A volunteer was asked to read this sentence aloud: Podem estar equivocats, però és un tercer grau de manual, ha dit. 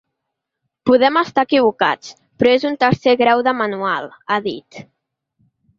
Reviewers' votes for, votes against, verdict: 2, 0, accepted